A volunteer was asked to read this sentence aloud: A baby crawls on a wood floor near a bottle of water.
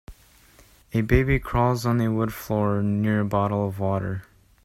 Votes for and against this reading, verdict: 2, 0, accepted